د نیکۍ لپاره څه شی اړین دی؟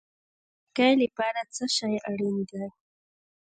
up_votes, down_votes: 0, 2